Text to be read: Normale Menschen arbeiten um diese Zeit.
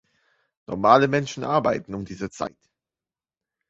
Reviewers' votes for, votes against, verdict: 2, 1, accepted